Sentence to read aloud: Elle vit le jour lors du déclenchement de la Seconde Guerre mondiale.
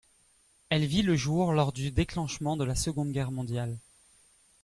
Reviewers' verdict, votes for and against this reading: accepted, 2, 0